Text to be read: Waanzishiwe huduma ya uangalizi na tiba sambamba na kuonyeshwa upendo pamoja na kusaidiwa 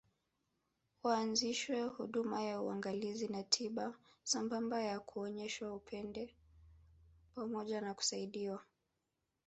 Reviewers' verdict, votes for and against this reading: accepted, 3, 2